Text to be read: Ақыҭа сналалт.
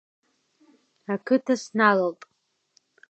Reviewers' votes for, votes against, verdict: 2, 0, accepted